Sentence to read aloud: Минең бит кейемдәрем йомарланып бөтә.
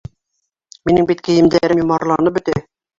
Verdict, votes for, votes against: rejected, 0, 2